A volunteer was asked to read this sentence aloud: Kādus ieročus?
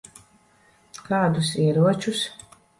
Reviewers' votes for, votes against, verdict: 2, 1, accepted